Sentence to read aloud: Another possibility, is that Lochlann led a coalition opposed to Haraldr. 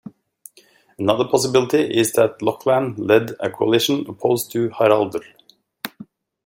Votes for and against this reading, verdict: 2, 0, accepted